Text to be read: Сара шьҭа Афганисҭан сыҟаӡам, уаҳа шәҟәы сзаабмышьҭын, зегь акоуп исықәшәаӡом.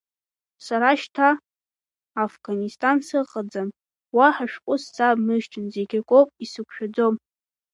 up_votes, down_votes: 1, 2